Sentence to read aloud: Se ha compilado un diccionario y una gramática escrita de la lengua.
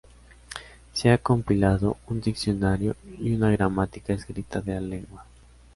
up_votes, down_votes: 0, 2